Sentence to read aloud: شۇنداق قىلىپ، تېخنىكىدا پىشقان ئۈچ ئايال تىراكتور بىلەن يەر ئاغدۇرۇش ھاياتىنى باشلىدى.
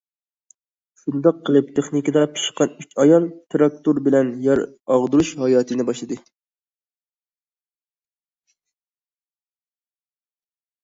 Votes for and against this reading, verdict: 2, 0, accepted